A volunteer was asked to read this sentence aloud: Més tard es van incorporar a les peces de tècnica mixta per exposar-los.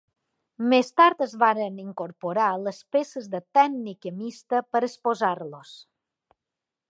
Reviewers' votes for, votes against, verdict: 0, 2, rejected